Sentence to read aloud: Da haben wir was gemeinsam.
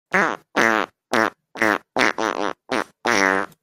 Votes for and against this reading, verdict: 0, 2, rejected